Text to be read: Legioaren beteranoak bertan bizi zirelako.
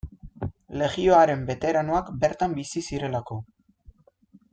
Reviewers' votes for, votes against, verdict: 2, 0, accepted